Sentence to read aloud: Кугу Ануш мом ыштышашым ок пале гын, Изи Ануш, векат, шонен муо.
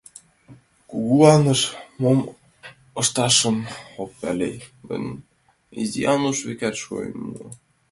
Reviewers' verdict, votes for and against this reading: rejected, 0, 2